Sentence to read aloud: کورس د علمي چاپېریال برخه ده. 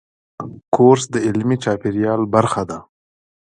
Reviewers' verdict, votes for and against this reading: rejected, 0, 2